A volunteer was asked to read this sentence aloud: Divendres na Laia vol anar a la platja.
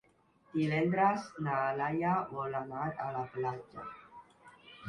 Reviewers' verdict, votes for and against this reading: rejected, 1, 2